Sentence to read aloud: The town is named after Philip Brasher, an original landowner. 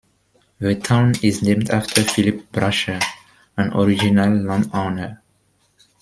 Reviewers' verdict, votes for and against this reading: accepted, 2, 0